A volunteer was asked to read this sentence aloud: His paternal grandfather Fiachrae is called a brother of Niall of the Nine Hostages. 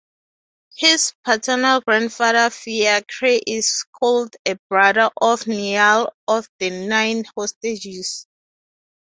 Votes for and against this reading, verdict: 2, 0, accepted